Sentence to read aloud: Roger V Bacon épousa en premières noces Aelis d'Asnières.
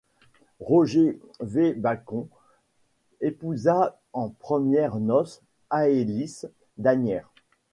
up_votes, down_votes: 2, 1